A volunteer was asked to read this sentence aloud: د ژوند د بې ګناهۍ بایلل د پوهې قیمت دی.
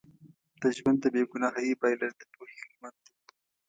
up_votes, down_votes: 1, 2